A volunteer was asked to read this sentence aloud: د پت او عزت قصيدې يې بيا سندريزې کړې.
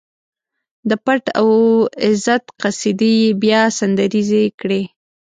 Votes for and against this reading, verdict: 1, 2, rejected